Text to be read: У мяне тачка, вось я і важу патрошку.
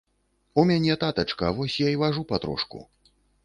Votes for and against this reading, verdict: 1, 3, rejected